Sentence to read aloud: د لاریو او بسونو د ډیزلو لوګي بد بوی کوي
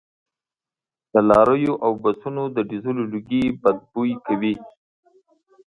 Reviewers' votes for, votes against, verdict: 2, 1, accepted